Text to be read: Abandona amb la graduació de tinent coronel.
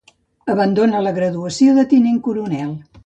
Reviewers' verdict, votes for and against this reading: rejected, 1, 2